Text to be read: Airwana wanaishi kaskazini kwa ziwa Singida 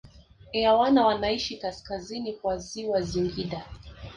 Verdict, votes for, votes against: rejected, 0, 2